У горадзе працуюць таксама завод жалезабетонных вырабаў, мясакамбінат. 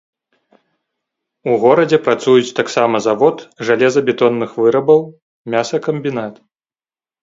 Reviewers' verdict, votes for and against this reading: accepted, 2, 0